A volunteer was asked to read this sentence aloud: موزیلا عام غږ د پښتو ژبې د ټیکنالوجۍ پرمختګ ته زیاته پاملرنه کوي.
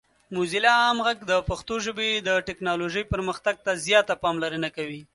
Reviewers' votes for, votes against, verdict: 2, 0, accepted